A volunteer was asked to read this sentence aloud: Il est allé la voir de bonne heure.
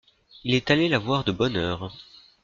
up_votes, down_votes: 2, 0